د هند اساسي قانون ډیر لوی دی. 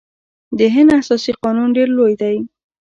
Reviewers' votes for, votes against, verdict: 2, 0, accepted